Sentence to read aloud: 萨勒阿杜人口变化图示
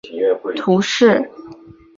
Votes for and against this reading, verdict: 0, 2, rejected